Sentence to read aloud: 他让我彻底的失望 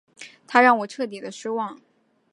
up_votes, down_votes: 3, 0